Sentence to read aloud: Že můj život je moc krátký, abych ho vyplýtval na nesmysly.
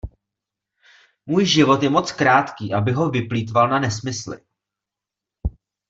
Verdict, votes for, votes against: rejected, 0, 2